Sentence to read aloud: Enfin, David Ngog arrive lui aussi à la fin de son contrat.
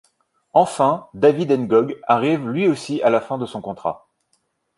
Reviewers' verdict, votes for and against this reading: accepted, 2, 0